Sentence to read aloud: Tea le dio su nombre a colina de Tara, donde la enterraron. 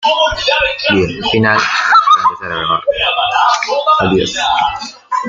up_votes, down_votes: 0, 2